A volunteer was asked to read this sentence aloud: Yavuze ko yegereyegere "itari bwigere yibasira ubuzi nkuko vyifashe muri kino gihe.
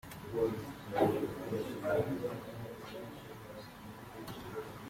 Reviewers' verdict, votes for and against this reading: rejected, 0, 2